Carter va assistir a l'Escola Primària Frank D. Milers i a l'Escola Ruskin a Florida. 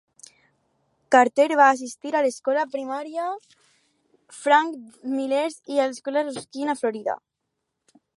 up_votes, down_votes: 2, 2